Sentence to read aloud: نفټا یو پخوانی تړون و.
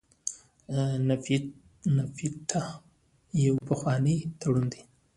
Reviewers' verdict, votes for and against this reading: rejected, 0, 2